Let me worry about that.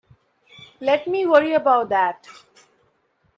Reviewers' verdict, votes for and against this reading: accepted, 2, 0